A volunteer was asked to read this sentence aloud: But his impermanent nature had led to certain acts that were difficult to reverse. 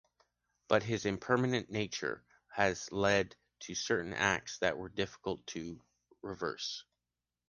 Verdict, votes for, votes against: rejected, 1, 2